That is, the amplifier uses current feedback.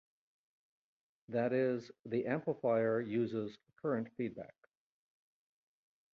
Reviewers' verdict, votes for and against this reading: accepted, 2, 0